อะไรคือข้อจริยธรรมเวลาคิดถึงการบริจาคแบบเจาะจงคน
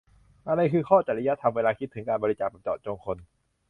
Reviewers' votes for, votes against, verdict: 1, 2, rejected